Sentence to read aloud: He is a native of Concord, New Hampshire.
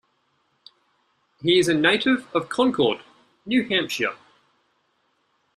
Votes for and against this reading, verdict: 2, 0, accepted